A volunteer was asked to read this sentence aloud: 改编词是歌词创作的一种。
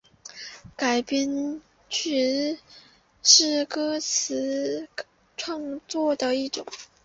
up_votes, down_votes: 2, 0